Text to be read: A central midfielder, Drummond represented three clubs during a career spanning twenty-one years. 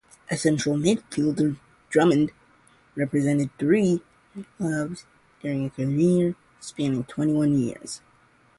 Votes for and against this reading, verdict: 0, 2, rejected